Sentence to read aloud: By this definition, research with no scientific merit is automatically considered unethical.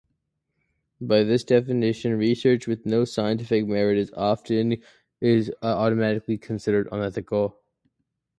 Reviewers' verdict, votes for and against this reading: rejected, 0, 2